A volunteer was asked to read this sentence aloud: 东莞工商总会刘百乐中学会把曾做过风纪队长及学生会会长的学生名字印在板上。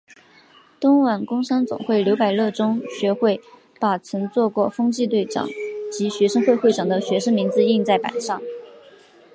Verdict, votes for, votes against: accepted, 3, 0